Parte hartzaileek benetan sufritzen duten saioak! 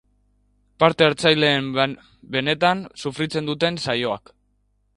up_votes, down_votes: 0, 2